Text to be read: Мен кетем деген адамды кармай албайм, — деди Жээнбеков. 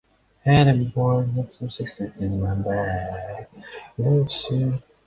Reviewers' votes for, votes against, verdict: 0, 2, rejected